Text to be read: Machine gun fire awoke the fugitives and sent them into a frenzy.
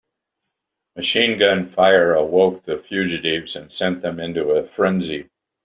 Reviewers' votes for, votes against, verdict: 2, 1, accepted